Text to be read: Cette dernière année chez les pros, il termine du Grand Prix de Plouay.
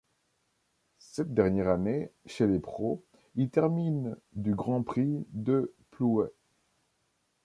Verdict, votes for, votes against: accepted, 2, 0